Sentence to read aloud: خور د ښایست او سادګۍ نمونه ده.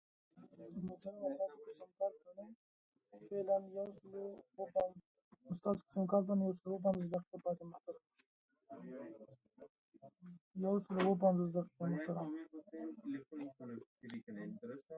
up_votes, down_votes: 0, 2